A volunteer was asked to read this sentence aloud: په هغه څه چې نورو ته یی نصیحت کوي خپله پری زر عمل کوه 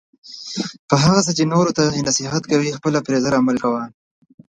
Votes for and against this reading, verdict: 2, 0, accepted